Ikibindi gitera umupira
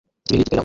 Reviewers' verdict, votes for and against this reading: rejected, 0, 2